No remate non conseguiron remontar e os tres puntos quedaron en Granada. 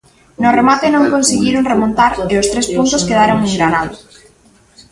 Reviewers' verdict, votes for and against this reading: accepted, 2, 1